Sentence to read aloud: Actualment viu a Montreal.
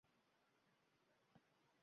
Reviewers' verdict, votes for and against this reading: rejected, 0, 2